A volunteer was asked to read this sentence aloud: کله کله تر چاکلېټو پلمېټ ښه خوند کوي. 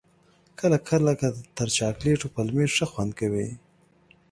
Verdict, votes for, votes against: accepted, 2, 0